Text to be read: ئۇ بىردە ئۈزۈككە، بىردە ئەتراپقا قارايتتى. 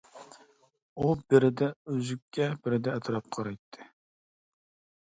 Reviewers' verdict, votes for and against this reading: accepted, 2, 0